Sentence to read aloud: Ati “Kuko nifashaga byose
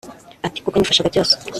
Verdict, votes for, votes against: rejected, 1, 2